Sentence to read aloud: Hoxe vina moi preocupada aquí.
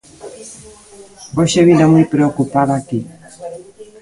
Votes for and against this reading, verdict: 0, 2, rejected